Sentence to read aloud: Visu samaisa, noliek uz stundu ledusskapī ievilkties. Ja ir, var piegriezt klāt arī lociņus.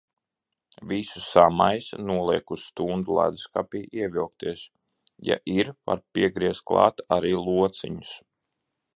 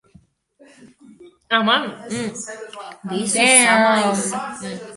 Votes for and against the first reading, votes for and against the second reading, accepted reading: 2, 0, 0, 2, first